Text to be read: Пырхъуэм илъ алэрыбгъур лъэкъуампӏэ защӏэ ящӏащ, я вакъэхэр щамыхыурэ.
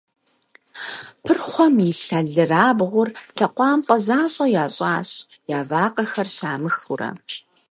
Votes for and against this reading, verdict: 2, 6, rejected